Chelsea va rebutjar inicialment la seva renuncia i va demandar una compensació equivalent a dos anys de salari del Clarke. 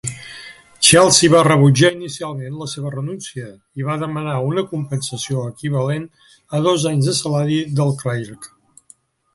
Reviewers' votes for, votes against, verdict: 1, 2, rejected